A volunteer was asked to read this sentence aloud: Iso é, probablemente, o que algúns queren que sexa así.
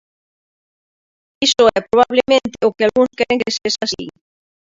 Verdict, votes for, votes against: rejected, 0, 2